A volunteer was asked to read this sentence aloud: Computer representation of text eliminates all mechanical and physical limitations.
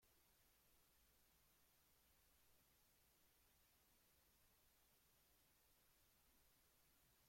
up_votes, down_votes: 0, 2